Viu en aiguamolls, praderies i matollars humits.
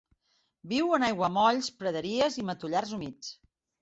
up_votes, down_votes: 3, 0